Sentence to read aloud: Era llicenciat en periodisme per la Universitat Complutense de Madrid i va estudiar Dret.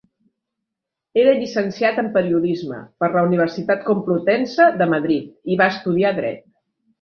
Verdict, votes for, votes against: accepted, 2, 0